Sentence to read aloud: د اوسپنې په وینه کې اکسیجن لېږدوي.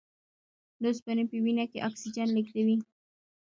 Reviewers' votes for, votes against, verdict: 0, 2, rejected